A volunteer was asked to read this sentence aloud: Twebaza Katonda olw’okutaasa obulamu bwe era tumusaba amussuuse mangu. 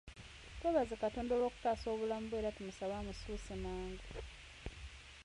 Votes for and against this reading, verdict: 2, 1, accepted